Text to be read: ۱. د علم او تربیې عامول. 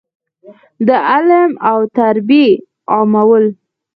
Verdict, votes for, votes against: rejected, 0, 2